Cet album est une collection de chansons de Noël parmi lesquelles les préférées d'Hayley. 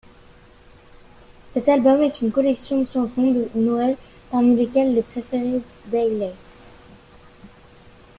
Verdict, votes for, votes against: accepted, 2, 0